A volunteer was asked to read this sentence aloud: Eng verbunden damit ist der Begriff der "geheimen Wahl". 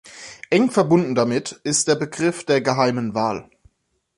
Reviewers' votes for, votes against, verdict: 2, 0, accepted